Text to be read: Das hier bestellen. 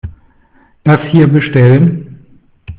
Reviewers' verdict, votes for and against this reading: accepted, 2, 0